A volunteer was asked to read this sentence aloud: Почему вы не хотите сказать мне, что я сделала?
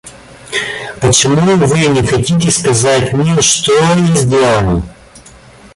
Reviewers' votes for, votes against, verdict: 1, 2, rejected